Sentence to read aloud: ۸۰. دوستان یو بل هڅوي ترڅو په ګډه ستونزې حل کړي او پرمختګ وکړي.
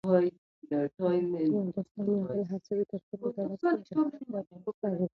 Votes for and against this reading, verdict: 0, 2, rejected